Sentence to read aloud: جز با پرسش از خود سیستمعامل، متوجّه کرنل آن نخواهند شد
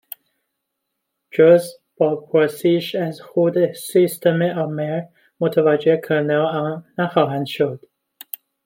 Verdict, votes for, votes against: rejected, 0, 2